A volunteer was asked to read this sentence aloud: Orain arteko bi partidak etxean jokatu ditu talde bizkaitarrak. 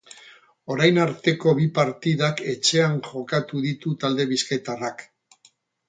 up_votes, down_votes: 2, 0